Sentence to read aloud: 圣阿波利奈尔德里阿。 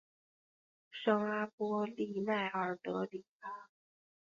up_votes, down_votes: 2, 0